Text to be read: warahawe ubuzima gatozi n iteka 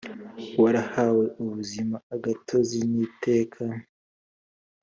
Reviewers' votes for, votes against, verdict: 2, 0, accepted